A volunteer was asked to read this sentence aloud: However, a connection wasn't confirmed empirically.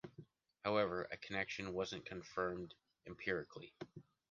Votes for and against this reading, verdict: 3, 0, accepted